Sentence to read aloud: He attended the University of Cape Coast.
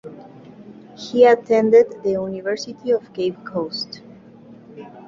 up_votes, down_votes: 2, 0